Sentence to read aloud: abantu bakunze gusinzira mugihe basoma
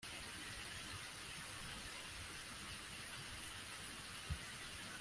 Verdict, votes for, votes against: rejected, 0, 2